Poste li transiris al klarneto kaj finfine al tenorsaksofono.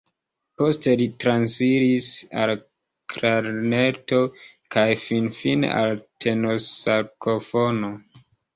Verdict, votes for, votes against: rejected, 0, 2